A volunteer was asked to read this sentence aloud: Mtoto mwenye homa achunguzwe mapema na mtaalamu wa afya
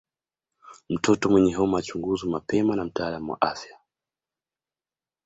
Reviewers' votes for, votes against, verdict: 2, 1, accepted